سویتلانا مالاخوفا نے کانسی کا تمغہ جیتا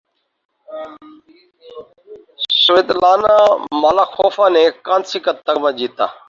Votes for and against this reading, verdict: 2, 4, rejected